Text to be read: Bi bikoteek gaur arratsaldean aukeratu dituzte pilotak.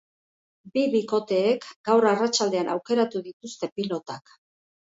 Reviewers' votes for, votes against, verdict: 2, 0, accepted